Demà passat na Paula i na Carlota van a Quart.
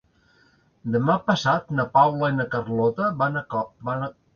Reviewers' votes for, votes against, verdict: 0, 2, rejected